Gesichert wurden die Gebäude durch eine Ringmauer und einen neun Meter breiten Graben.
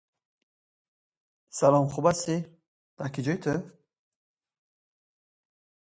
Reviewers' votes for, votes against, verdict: 0, 2, rejected